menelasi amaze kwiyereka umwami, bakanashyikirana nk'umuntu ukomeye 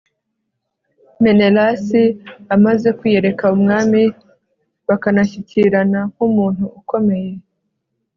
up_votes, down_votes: 1, 2